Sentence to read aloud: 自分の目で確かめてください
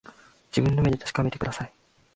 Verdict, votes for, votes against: accepted, 2, 0